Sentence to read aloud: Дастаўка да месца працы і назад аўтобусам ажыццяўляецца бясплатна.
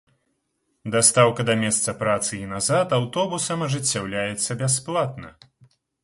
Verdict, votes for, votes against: accepted, 2, 0